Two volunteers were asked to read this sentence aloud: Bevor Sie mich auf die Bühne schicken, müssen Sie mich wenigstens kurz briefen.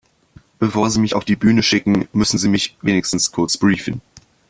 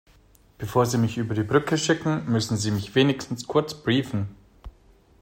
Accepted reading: first